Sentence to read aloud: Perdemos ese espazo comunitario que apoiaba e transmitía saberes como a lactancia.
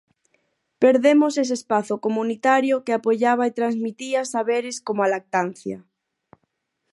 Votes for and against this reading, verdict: 4, 0, accepted